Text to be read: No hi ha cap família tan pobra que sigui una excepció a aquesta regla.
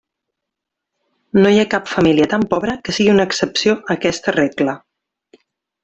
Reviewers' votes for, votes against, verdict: 2, 0, accepted